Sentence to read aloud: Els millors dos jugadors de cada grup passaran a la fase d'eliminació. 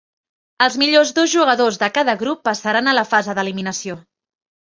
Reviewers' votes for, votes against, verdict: 4, 0, accepted